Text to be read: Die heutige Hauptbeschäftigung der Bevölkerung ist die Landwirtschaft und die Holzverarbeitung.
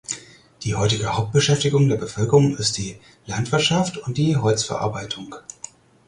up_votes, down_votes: 4, 0